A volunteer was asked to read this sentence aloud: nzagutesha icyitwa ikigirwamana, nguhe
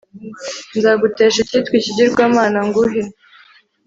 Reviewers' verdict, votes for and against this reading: accepted, 2, 0